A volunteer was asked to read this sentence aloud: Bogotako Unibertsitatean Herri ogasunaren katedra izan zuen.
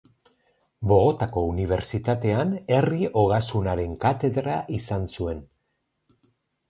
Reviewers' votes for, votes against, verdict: 0, 4, rejected